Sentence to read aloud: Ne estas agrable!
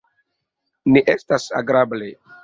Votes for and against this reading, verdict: 2, 0, accepted